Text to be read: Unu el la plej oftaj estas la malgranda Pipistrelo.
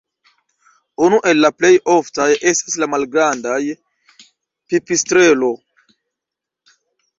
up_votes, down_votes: 0, 2